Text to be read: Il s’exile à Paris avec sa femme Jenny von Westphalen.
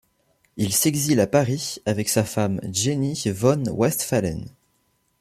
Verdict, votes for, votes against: accepted, 2, 0